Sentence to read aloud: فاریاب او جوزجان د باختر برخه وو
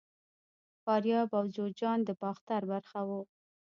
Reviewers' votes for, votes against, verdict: 0, 2, rejected